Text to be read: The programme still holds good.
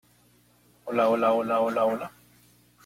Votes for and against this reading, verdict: 0, 2, rejected